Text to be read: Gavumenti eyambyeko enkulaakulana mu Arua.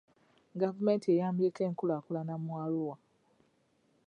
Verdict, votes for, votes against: accepted, 2, 0